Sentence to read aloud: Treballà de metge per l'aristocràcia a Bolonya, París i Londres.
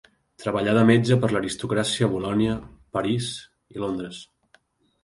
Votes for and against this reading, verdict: 2, 0, accepted